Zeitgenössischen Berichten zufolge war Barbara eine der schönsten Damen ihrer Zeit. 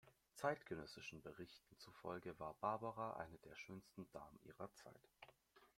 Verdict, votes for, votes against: rejected, 1, 2